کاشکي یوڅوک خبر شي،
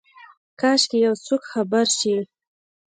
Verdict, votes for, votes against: accepted, 2, 0